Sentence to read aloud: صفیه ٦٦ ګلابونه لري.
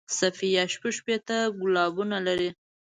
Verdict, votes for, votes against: rejected, 0, 2